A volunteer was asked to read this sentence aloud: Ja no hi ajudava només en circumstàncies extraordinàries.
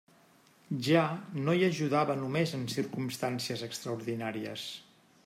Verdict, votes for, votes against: accepted, 3, 0